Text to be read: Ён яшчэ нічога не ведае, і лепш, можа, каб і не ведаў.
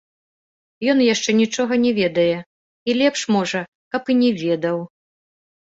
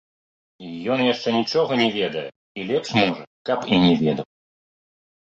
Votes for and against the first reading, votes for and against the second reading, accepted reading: 2, 0, 0, 2, first